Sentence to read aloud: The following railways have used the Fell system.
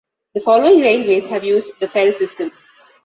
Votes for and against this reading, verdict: 2, 0, accepted